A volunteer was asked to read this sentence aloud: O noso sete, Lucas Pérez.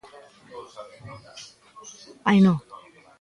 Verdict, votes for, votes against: rejected, 0, 2